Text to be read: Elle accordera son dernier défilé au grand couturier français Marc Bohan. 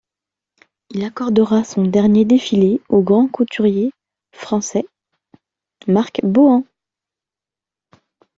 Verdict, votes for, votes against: rejected, 0, 2